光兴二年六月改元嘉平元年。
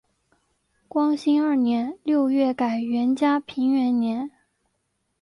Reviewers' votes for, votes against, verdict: 0, 2, rejected